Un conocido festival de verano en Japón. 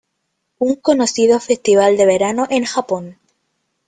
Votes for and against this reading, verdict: 2, 0, accepted